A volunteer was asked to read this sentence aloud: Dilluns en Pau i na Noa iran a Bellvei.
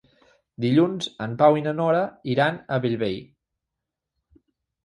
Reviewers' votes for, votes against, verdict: 2, 4, rejected